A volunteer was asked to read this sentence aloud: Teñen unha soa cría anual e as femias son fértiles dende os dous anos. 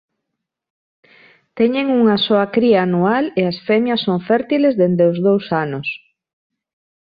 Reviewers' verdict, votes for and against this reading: accepted, 2, 0